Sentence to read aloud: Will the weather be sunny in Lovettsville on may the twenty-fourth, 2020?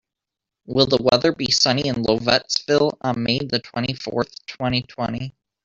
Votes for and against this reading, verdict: 0, 2, rejected